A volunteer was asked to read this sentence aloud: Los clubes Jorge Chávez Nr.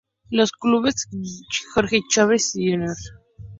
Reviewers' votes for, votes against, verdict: 0, 2, rejected